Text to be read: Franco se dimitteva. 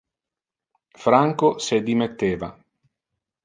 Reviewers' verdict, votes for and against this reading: rejected, 1, 2